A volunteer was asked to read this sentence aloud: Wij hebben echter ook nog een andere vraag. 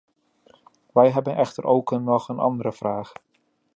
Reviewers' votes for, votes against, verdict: 0, 2, rejected